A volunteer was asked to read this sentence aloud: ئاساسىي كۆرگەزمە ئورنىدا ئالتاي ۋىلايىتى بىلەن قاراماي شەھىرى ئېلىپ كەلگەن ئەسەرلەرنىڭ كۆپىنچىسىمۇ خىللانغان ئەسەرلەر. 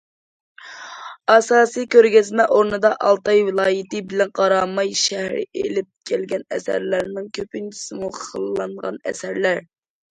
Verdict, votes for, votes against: accepted, 2, 0